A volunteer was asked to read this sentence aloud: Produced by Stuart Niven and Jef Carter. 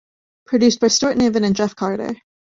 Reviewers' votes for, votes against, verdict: 2, 0, accepted